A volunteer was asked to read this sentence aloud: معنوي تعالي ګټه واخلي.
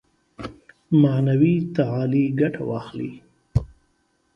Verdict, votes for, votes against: accepted, 2, 0